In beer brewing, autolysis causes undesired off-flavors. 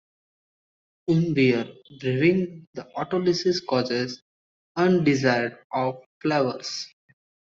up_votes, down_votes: 0, 2